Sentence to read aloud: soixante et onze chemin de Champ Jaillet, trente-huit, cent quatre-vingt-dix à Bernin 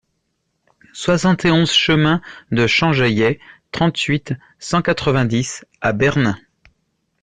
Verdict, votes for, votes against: accepted, 2, 0